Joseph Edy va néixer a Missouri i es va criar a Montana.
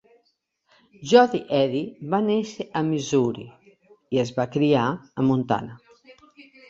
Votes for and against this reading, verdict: 1, 2, rejected